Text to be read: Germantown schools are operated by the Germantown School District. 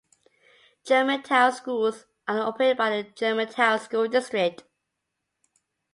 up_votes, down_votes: 2, 0